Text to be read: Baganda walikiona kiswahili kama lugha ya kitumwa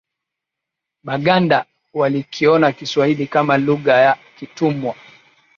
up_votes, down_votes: 2, 0